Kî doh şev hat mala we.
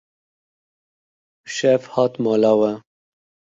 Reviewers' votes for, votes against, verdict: 0, 2, rejected